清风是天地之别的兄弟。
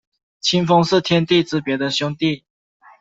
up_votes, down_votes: 2, 0